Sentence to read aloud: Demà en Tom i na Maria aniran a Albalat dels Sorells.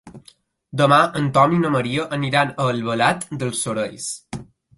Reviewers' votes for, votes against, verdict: 2, 0, accepted